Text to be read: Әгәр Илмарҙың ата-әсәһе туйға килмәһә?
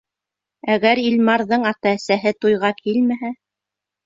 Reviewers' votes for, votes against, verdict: 2, 0, accepted